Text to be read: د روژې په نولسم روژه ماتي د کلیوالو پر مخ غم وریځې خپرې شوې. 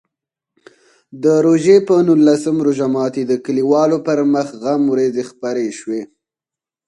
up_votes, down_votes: 6, 2